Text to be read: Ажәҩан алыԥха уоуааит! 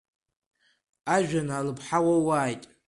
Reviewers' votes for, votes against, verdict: 0, 2, rejected